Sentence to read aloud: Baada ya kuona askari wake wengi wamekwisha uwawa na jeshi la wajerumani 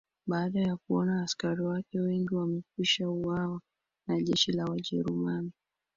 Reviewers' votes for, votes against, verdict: 2, 0, accepted